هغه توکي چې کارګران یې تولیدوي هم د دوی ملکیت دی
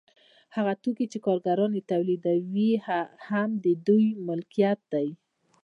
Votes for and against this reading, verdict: 0, 2, rejected